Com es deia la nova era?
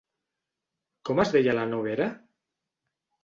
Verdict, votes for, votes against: rejected, 0, 2